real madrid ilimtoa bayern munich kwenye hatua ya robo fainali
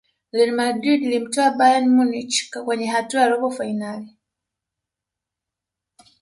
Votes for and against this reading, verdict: 2, 0, accepted